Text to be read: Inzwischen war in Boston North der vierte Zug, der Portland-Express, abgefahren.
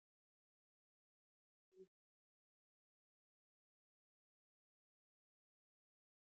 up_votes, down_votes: 0, 2